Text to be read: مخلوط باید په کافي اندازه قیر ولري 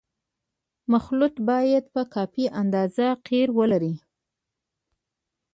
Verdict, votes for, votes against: rejected, 0, 2